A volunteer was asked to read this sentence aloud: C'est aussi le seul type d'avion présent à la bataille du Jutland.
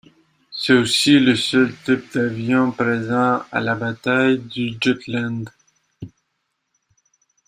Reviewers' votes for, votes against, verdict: 2, 0, accepted